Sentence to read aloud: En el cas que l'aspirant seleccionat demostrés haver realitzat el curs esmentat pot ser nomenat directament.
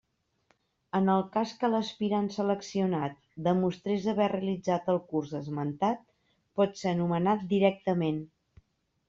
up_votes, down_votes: 3, 0